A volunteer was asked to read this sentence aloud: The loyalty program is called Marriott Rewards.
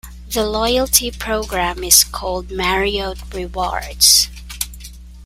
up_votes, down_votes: 2, 0